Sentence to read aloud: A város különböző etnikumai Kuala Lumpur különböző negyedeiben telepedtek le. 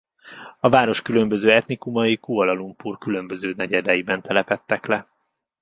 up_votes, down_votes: 1, 2